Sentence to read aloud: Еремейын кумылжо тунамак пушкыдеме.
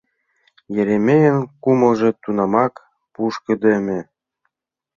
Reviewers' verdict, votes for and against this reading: accepted, 2, 0